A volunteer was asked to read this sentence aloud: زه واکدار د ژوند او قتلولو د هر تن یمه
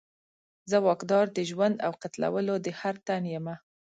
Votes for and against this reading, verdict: 2, 0, accepted